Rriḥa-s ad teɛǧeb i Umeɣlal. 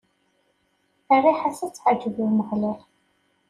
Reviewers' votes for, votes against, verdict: 1, 2, rejected